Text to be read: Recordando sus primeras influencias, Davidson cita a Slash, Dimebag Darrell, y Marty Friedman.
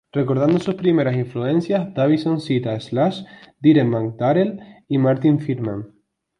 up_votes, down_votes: 2, 0